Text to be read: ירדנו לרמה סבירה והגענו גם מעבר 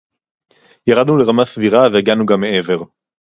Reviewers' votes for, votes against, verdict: 2, 0, accepted